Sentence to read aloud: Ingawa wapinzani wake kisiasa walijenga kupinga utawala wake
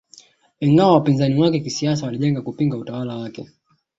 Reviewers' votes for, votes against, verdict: 2, 0, accepted